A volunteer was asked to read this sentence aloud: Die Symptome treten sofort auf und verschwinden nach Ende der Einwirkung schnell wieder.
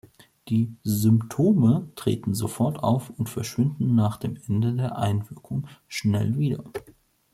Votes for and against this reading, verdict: 0, 3, rejected